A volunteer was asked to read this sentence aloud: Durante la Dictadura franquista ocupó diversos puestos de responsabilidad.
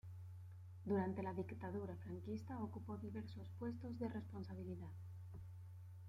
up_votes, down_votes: 2, 0